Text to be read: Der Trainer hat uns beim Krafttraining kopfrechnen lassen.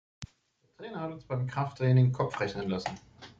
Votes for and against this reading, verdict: 1, 2, rejected